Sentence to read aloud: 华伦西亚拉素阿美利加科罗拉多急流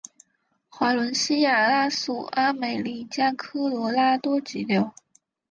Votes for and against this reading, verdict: 7, 0, accepted